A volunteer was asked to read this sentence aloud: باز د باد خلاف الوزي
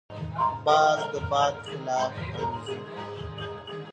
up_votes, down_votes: 1, 2